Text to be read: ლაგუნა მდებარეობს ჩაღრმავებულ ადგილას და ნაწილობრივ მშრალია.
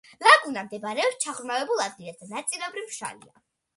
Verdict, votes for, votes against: accepted, 2, 0